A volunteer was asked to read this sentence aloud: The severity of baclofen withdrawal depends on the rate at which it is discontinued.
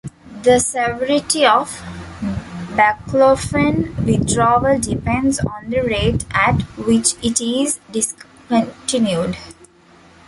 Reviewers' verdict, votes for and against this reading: rejected, 1, 2